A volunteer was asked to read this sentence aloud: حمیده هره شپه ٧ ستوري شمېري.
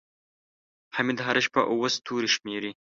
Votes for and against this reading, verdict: 0, 2, rejected